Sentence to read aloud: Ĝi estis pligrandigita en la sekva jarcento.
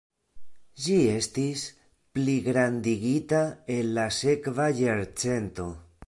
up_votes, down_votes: 1, 2